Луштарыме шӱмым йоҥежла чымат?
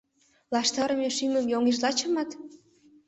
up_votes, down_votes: 0, 2